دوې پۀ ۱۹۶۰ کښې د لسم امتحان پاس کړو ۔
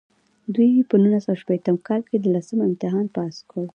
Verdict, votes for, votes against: rejected, 0, 2